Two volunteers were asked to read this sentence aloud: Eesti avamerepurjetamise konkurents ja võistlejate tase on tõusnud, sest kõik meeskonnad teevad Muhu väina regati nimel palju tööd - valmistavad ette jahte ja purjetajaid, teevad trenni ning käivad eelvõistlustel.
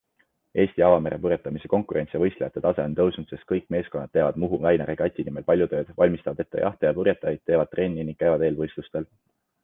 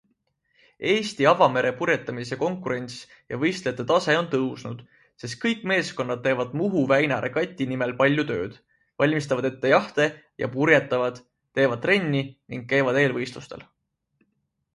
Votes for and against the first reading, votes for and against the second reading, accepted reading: 2, 0, 0, 2, first